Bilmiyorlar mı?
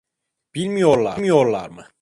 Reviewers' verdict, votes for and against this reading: rejected, 0, 2